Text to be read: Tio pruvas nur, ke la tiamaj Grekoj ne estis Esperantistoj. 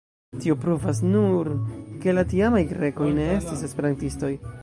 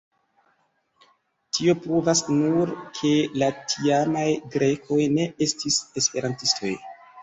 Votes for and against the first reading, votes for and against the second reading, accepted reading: 0, 2, 2, 0, second